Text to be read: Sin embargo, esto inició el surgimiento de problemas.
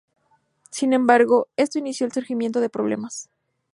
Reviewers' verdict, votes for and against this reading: accepted, 2, 0